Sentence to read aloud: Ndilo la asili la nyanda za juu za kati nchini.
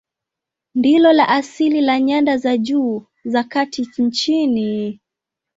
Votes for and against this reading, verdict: 2, 0, accepted